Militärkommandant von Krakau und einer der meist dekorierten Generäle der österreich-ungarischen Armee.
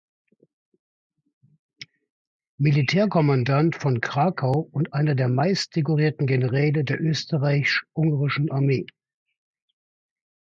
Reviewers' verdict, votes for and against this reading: rejected, 1, 2